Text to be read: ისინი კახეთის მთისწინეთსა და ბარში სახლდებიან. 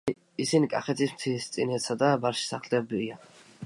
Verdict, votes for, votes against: accepted, 2, 1